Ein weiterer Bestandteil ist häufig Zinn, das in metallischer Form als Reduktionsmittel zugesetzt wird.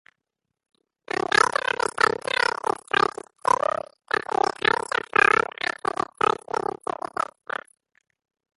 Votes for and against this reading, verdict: 0, 2, rejected